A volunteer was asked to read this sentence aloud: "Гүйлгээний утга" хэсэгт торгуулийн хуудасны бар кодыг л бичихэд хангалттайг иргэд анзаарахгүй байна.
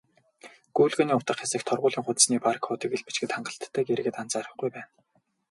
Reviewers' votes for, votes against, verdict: 4, 0, accepted